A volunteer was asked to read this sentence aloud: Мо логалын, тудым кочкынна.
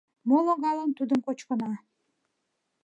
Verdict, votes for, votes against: rejected, 1, 2